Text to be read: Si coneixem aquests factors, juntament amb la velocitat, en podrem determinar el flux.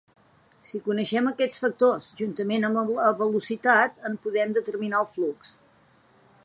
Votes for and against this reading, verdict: 1, 2, rejected